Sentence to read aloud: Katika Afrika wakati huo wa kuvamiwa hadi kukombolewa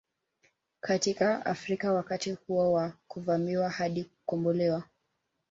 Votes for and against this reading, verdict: 3, 0, accepted